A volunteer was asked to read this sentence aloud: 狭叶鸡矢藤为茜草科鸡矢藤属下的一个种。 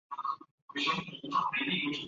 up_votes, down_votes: 0, 2